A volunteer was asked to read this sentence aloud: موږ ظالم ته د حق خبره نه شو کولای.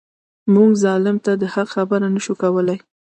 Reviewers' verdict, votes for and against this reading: rejected, 1, 2